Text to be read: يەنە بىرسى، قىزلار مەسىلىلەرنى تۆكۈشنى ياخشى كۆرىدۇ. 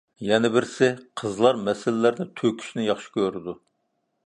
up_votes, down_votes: 1, 2